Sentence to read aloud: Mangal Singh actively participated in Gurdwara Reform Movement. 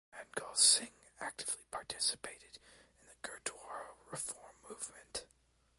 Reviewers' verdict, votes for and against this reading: rejected, 0, 2